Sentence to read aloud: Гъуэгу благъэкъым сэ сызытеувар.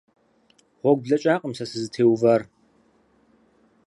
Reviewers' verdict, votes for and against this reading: rejected, 2, 4